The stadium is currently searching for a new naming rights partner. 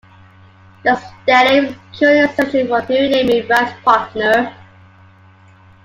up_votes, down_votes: 2, 0